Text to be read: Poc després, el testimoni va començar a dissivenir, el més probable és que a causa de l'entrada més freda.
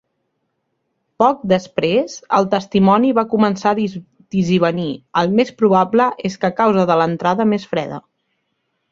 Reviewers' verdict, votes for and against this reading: rejected, 0, 2